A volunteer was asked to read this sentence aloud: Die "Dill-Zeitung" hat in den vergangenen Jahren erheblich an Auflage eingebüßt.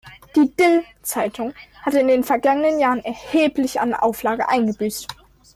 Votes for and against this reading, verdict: 1, 2, rejected